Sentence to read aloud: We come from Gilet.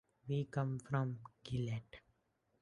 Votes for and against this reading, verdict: 2, 1, accepted